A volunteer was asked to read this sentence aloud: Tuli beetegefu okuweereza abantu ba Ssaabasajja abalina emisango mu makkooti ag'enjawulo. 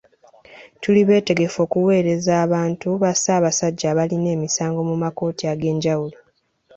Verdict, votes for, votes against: accepted, 2, 0